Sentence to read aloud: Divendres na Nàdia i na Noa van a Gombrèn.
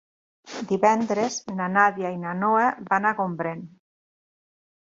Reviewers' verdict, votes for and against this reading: accepted, 5, 0